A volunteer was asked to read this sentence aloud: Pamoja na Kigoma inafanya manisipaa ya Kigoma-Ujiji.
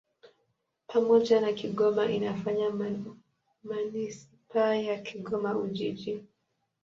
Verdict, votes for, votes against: accepted, 2, 0